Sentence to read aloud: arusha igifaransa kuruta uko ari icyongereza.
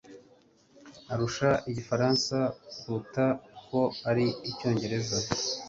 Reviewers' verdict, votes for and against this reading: accepted, 3, 0